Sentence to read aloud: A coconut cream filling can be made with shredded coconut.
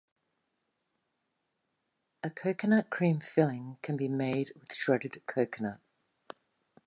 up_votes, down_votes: 2, 0